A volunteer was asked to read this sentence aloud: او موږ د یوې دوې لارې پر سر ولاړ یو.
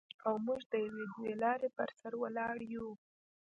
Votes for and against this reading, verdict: 2, 0, accepted